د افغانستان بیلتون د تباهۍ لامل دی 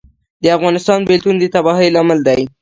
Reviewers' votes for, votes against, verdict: 1, 2, rejected